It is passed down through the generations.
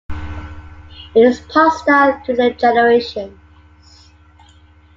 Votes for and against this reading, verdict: 2, 1, accepted